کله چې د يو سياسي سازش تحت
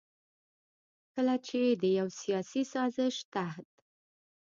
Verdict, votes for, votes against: rejected, 1, 2